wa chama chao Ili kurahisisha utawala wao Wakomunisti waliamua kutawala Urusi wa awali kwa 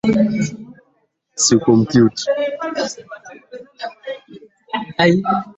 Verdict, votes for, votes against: rejected, 0, 2